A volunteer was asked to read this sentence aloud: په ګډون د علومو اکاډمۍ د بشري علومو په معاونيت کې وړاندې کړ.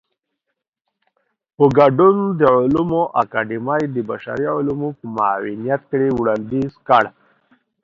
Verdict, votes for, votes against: rejected, 1, 2